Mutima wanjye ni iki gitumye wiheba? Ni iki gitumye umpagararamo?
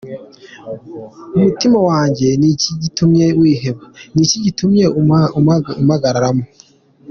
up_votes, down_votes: 1, 2